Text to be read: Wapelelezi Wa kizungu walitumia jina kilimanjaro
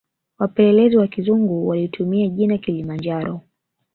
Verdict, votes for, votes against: accepted, 2, 0